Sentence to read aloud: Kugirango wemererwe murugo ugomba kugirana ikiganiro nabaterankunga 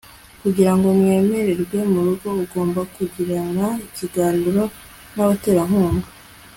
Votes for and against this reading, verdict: 3, 0, accepted